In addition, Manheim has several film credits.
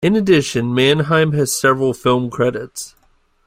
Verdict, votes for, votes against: accepted, 2, 0